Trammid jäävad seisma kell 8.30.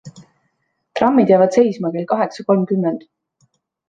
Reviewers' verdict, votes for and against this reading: rejected, 0, 2